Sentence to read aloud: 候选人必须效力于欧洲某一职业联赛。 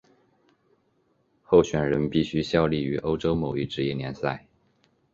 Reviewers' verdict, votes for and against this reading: accepted, 6, 0